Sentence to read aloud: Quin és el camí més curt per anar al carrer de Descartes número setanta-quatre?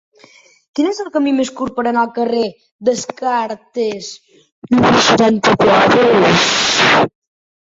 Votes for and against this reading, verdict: 0, 2, rejected